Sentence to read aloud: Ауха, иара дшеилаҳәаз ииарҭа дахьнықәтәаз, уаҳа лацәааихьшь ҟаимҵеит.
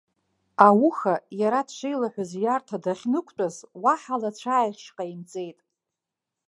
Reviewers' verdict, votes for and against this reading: accepted, 2, 0